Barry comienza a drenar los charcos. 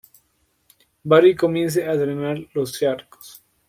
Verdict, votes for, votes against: accepted, 2, 0